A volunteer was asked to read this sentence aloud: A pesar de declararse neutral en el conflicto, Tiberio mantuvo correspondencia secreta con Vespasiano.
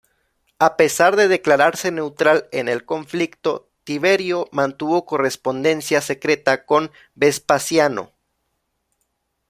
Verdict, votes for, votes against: accepted, 2, 1